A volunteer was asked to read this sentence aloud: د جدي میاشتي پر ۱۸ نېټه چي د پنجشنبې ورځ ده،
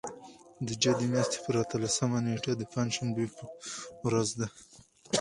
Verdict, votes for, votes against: rejected, 0, 2